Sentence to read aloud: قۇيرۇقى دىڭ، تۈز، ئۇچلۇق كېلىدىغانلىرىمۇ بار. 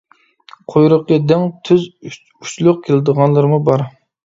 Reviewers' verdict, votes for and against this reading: rejected, 1, 2